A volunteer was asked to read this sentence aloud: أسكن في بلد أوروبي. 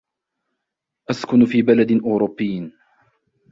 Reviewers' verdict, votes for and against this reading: accepted, 2, 1